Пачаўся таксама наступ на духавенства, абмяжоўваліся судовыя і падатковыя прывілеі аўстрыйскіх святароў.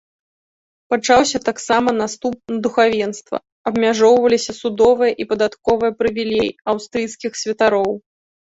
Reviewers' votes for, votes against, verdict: 0, 2, rejected